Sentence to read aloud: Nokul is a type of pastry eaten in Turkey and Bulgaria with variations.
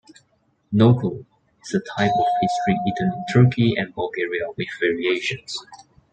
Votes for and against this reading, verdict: 2, 0, accepted